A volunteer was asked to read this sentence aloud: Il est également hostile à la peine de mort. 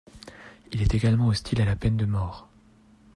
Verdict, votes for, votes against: accepted, 2, 0